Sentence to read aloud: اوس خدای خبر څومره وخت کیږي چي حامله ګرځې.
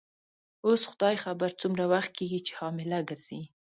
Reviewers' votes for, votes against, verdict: 2, 0, accepted